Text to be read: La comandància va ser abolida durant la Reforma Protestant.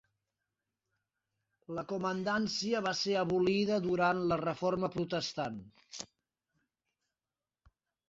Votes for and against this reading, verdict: 0, 2, rejected